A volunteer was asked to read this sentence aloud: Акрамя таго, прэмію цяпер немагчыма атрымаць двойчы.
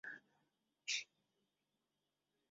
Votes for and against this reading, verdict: 0, 3, rejected